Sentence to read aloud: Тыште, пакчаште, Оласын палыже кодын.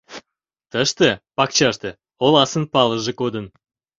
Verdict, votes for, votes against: accepted, 2, 0